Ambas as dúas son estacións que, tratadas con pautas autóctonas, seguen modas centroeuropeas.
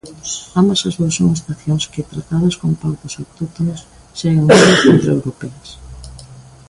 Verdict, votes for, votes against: rejected, 0, 2